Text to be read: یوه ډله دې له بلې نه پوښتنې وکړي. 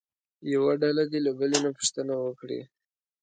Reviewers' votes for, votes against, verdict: 2, 0, accepted